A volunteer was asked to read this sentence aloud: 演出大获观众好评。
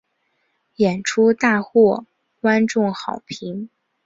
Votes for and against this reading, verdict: 2, 0, accepted